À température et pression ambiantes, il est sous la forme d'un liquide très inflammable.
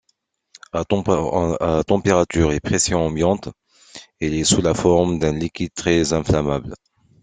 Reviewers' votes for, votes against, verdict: 2, 1, accepted